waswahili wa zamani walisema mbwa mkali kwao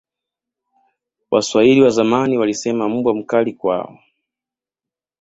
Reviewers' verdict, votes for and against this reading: rejected, 0, 2